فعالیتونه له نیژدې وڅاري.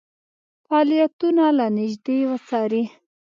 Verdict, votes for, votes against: accepted, 2, 0